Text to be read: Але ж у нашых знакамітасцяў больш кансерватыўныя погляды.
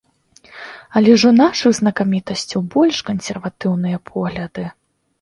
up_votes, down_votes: 2, 0